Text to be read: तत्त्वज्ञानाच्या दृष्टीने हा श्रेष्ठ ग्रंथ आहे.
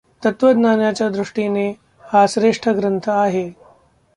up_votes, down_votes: 2, 0